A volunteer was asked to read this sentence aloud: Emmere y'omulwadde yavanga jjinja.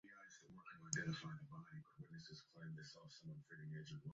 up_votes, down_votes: 0, 2